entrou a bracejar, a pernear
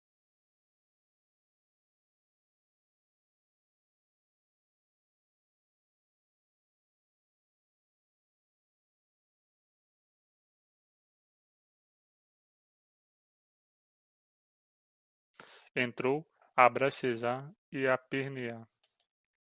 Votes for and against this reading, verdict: 0, 2, rejected